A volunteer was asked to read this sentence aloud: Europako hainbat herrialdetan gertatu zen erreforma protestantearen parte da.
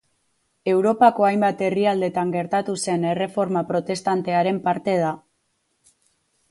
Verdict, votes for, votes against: accepted, 4, 0